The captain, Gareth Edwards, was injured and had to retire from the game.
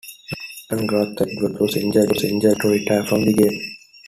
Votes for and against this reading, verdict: 0, 2, rejected